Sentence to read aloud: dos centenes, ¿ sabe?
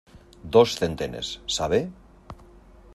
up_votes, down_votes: 2, 0